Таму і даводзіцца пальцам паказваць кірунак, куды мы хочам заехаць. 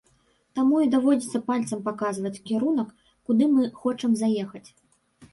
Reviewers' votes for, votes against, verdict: 2, 0, accepted